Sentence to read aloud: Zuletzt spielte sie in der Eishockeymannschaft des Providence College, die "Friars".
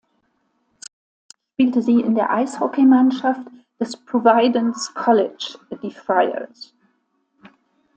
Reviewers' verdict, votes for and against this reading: rejected, 0, 2